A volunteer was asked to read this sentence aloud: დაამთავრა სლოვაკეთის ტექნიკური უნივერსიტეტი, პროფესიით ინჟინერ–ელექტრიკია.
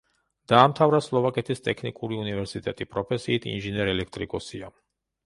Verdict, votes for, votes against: rejected, 0, 2